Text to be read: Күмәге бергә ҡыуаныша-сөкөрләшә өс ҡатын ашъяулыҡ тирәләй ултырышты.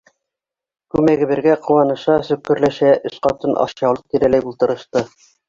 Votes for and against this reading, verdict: 2, 1, accepted